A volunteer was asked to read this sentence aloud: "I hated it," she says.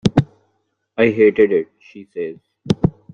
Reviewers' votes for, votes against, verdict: 2, 1, accepted